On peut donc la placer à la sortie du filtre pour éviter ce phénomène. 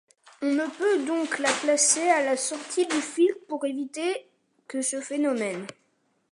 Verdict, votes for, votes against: rejected, 1, 2